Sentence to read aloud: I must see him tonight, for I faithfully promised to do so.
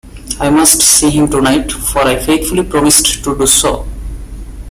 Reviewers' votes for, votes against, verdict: 2, 0, accepted